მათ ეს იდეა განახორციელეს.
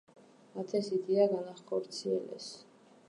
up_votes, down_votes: 2, 1